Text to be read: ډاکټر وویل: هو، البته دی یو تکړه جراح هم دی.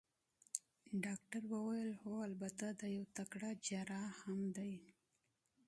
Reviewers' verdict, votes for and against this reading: rejected, 0, 2